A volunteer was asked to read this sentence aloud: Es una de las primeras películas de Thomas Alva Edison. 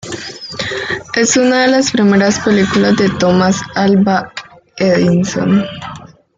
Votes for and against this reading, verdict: 0, 3, rejected